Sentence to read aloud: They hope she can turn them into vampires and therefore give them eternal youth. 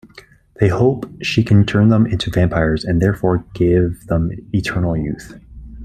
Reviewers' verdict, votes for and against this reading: accepted, 2, 0